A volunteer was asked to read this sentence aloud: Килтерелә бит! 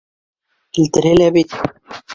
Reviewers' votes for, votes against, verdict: 2, 1, accepted